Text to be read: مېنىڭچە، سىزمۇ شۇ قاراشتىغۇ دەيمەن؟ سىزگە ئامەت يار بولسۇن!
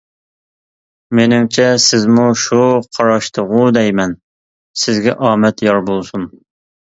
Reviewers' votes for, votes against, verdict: 2, 0, accepted